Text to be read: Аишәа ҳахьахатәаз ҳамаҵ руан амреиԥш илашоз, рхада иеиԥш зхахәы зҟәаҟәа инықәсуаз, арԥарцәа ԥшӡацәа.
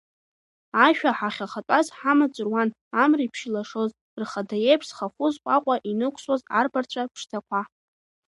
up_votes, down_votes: 0, 2